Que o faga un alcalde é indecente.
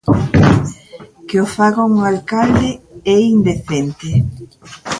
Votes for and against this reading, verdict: 0, 2, rejected